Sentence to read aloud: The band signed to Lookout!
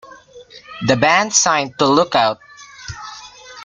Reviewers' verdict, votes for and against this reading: accepted, 2, 0